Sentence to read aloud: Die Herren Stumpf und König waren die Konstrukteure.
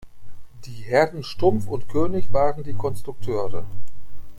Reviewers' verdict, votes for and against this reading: accepted, 2, 0